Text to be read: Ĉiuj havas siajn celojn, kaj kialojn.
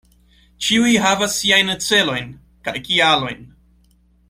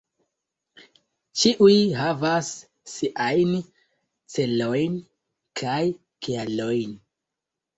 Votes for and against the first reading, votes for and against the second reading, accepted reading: 2, 0, 0, 2, first